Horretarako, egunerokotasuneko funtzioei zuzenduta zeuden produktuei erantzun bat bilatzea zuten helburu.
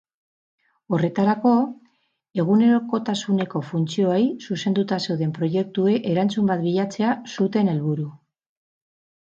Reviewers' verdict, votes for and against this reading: rejected, 2, 4